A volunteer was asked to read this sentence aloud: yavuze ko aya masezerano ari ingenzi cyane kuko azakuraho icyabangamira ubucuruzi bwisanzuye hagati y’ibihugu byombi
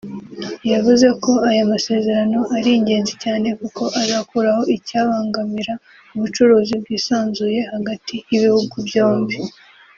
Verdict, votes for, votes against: rejected, 1, 2